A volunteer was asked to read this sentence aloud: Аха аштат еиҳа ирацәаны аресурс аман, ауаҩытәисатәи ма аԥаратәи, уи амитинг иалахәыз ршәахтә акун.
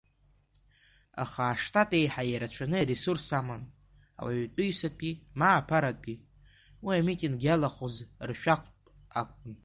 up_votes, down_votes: 0, 2